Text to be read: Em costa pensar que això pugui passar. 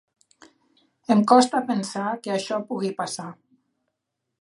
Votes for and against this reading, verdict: 2, 0, accepted